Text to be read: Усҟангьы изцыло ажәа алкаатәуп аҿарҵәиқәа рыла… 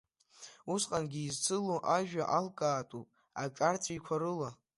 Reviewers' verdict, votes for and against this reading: accepted, 2, 0